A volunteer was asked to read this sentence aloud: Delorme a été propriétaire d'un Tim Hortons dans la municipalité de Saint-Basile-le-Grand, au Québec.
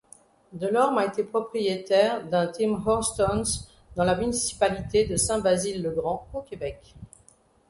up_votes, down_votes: 1, 2